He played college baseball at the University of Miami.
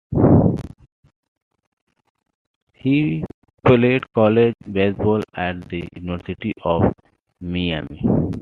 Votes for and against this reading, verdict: 2, 0, accepted